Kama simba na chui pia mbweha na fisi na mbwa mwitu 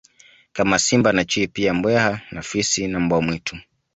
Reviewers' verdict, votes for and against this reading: accepted, 2, 0